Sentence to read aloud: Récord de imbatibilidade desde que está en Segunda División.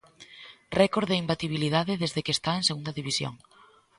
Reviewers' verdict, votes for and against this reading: accepted, 2, 0